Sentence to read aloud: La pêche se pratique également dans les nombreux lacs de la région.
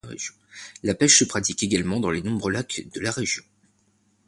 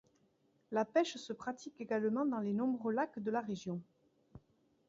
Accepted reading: second